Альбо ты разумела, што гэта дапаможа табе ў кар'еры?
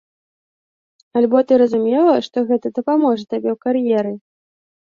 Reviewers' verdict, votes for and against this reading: accepted, 2, 0